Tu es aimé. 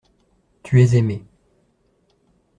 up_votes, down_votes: 2, 0